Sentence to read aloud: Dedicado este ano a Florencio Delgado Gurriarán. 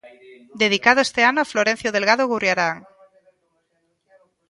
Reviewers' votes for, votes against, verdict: 1, 2, rejected